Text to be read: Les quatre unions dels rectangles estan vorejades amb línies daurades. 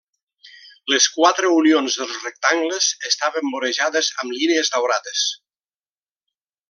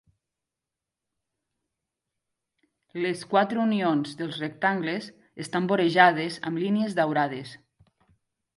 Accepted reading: second